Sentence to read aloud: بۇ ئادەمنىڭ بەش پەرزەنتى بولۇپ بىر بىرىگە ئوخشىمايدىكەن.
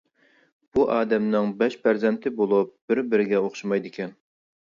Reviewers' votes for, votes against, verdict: 2, 0, accepted